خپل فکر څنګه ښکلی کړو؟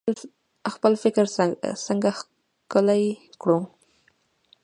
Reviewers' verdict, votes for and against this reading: accepted, 2, 0